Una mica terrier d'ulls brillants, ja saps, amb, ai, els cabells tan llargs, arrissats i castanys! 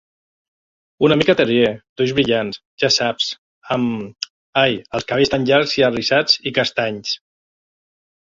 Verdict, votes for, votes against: accepted, 2, 1